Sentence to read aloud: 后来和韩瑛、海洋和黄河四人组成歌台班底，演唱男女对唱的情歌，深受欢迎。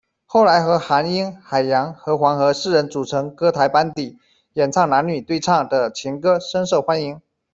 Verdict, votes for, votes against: accepted, 2, 0